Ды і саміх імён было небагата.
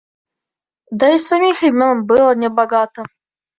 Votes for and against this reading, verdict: 1, 2, rejected